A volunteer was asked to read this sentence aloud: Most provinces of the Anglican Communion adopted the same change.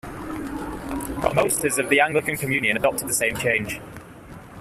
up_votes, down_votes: 0, 2